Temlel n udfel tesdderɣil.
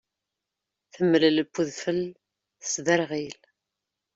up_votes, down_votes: 2, 0